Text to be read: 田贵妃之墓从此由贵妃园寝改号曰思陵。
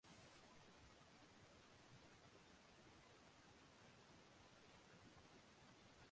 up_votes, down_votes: 0, 2